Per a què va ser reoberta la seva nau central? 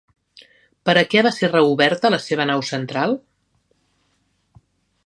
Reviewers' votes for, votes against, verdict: 3, 1, accepted